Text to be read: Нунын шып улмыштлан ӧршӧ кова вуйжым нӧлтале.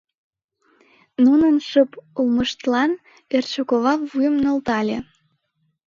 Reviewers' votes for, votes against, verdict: 0, 2, rejected